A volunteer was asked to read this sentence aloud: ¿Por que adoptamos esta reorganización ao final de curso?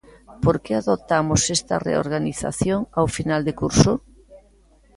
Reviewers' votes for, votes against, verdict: 2, 1, accepted